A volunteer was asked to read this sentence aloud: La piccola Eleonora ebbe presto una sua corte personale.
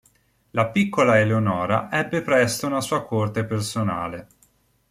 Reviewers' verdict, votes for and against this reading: accepted, 2, 0